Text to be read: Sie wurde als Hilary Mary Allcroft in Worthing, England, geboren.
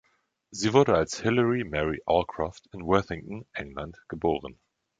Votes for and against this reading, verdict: 1, 2, rejected